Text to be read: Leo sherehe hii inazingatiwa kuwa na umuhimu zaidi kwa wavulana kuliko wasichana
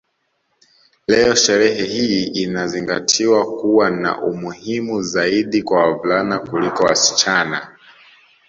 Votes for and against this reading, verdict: 2, 0, accepted